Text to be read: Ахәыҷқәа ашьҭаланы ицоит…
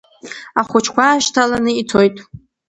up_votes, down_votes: 1, 2